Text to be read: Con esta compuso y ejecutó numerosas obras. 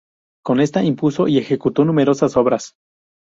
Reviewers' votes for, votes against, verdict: 0, 2, rejected